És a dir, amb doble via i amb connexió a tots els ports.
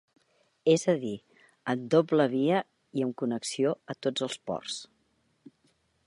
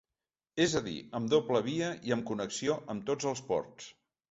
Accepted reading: first